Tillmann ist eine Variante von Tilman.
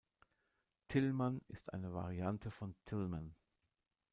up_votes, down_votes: 1, 2